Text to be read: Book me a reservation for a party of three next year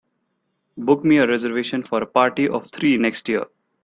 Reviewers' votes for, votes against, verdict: 2, 0, accepted